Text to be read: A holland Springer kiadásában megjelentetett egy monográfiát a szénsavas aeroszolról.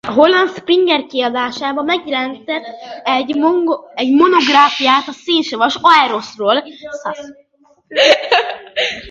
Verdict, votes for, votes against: rejected, 0, 2